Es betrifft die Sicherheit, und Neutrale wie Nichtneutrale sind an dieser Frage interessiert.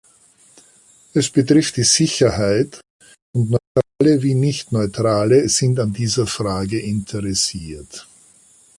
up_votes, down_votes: 0, 2